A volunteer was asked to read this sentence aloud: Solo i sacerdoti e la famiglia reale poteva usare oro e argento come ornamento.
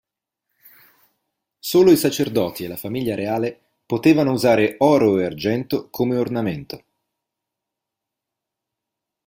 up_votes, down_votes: 0, 2